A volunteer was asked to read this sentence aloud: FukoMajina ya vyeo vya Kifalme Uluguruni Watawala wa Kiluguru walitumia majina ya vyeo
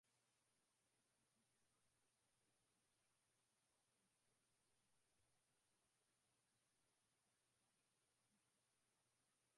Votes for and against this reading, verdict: 0, 2, rejected